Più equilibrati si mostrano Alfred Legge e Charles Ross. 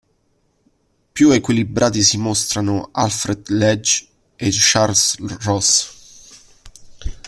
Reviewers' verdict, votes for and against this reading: rejected, 0, 2